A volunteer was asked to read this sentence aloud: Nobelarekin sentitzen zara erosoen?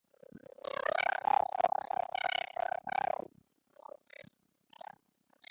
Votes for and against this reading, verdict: 0, 3, rejected